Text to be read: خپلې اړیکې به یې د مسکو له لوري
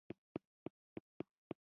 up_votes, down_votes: 1, 3